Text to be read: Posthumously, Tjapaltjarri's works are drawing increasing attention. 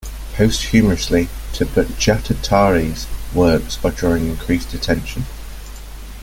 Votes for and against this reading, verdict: 0, 2, rejected